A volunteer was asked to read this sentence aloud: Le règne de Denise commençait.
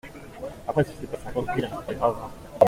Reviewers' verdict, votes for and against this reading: rejected, 0, 2